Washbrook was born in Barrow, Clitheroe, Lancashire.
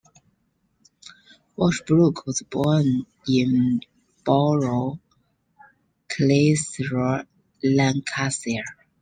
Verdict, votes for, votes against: accepted, 2, 1